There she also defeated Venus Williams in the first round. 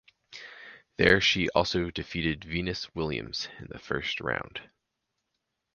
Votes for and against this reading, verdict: 2, 0, accepted